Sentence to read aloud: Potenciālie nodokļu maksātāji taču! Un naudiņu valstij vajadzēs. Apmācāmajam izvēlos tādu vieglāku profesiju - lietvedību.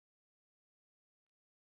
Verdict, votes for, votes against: rejected, 0, 2